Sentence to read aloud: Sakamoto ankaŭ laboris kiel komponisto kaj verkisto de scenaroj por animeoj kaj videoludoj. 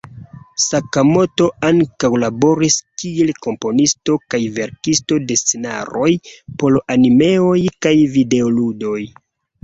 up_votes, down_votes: 0, 2